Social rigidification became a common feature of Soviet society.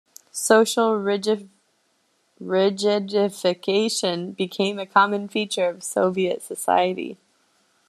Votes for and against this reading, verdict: 0, 2, rejected